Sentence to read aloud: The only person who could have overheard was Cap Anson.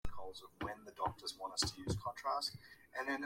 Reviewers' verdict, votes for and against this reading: rejected, 0, 2